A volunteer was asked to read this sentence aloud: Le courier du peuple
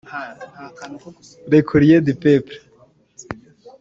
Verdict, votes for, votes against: rejected, 1, 2